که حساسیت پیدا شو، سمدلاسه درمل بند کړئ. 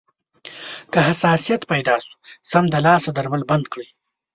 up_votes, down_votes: 3, 0